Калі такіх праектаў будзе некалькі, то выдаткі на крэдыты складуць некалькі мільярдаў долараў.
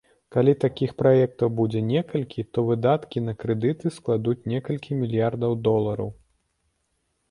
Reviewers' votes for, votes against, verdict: 3, 0, accepted